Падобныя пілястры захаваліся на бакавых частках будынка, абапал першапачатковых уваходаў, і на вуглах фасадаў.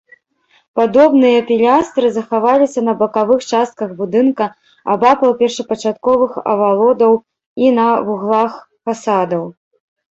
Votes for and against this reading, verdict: 1, 2, rejected